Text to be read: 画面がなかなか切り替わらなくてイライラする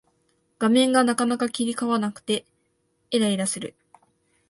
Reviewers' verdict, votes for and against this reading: rejected, 0, 2